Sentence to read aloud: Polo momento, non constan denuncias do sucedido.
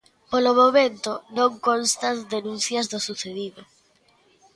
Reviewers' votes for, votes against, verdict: 2, 0, accepted